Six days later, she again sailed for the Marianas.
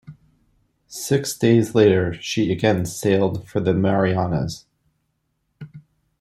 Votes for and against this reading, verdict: 2, 0, accepted